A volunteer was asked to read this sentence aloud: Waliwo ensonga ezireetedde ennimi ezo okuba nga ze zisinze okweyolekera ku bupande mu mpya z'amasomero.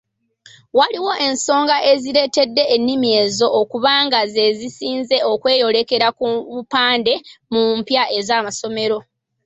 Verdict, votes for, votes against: rejected, 0, 2